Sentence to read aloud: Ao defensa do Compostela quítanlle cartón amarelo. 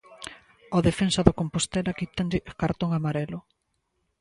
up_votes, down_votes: 2, 0